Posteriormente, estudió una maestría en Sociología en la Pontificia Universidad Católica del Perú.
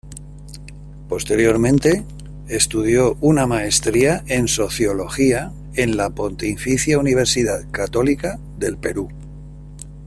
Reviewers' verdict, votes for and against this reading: rejected, 1, 2